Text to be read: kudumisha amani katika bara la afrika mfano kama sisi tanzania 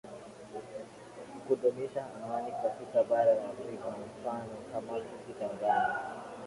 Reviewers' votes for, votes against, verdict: 0, 2, rejected